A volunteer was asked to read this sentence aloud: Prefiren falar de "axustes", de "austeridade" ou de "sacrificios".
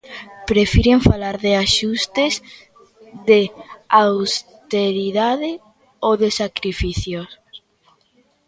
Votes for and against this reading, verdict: 1, 2, rejected